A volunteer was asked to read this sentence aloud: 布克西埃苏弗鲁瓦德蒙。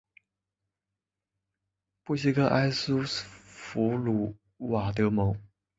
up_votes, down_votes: 1, 2